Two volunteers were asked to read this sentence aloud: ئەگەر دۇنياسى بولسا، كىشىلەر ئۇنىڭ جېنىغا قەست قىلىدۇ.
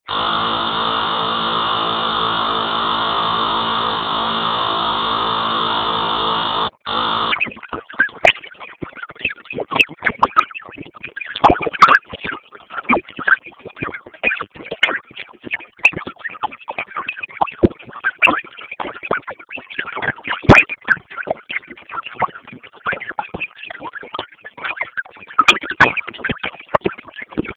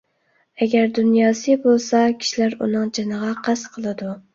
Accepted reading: second